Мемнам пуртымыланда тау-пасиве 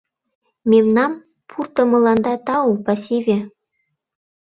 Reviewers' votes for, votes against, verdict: 2, 0, accepted